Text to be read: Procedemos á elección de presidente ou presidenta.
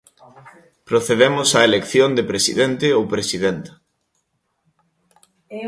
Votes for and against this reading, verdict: 2, 0, accepted